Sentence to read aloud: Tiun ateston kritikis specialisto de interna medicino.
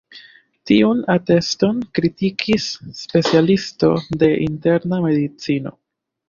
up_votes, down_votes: 2, 0